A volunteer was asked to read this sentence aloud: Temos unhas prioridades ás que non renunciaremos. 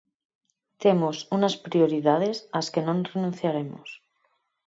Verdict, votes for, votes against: rejected, 2, 4